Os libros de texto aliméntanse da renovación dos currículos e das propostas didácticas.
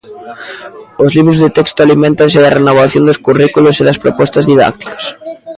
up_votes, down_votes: 0, 2